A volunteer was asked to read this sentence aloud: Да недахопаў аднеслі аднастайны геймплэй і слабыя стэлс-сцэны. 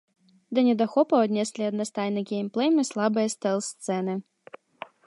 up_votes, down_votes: 1, 3